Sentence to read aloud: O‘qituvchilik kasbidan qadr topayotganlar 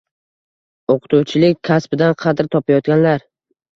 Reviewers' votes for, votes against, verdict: 2, 0, accepted